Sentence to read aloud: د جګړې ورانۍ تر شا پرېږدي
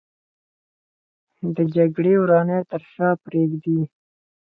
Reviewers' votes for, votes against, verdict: 4, 0, accepted